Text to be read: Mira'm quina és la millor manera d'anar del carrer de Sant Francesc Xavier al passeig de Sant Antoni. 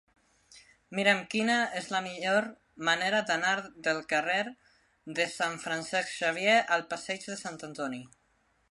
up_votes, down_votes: 2, 0